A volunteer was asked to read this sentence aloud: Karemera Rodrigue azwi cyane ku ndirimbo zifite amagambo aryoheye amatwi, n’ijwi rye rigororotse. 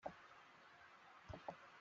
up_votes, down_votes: 0, 2